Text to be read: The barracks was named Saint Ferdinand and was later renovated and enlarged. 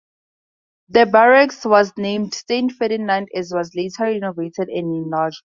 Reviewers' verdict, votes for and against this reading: rejected, 0, 4